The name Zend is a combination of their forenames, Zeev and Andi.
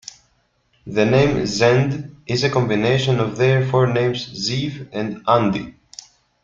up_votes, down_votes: 2, 0